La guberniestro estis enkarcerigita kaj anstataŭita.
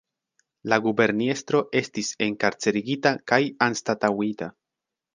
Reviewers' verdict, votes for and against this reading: rejected, 1, 2